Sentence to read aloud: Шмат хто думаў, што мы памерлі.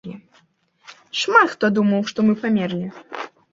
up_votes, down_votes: 2, 0